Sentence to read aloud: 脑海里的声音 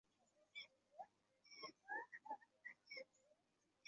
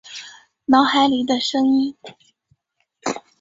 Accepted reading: second